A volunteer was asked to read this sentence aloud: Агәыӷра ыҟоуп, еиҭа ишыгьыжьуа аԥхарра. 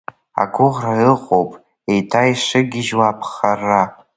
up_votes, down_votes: 1, 2